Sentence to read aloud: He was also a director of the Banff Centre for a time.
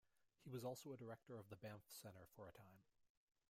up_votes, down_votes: 2, 1